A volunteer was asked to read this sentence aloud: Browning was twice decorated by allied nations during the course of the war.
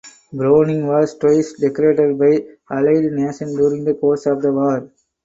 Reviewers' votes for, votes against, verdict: 0, 4, rejected